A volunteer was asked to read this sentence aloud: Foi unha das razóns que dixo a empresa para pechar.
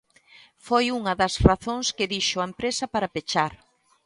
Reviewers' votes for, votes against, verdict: 2, 0, accepted